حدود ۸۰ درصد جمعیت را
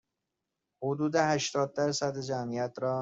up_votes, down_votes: 0, 2